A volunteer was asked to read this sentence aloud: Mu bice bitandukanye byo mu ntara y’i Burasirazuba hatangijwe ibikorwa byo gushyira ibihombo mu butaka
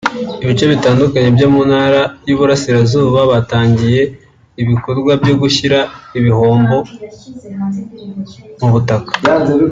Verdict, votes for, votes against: rejected, 1, 2